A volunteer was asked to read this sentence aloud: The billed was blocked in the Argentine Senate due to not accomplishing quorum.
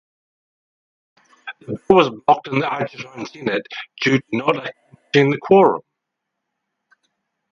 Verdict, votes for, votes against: rejected, 2, 4